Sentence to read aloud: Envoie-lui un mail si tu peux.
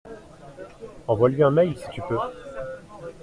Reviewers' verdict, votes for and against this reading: accepted, 2, 0